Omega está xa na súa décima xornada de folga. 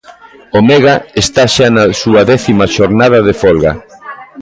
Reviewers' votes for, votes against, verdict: 2, 1, accepted